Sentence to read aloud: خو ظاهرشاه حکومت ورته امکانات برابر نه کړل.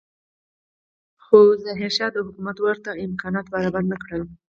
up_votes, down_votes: 4, 0